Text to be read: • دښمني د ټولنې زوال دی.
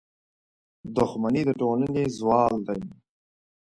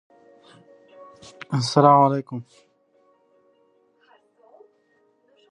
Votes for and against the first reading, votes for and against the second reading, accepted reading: 2, 0, 0, 2, first